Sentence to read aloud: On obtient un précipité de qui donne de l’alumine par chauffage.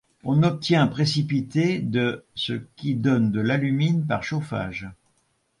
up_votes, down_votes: 1, 2